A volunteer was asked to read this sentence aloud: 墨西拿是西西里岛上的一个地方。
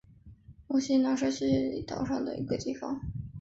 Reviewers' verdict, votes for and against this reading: accepted, 3, 1